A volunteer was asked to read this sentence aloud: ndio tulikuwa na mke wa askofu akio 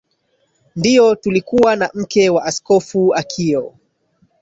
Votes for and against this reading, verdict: 14, 0, accepted